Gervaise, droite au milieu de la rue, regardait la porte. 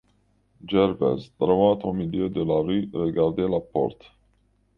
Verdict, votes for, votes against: rejected, 1, 2